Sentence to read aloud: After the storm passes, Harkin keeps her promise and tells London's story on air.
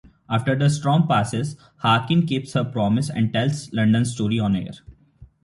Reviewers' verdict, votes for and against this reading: accepted, 3, 1